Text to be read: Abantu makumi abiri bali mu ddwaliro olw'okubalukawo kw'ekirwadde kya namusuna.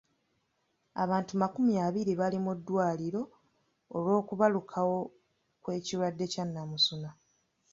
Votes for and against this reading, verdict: 2, 1, accepted